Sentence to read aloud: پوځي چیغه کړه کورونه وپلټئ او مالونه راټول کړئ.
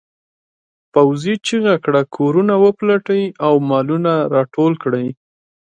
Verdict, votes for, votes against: rejected, 0, 2